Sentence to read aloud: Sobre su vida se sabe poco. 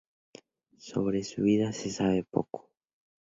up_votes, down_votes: 2, 0